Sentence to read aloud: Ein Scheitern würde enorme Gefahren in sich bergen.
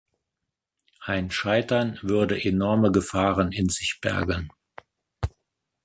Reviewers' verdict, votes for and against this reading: accepted, 2, 0